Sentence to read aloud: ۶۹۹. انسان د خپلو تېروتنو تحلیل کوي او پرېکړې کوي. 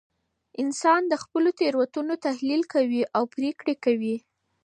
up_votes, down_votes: 0, 2